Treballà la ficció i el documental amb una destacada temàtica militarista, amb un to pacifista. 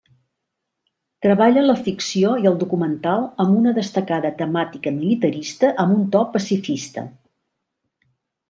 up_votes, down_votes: 1, 2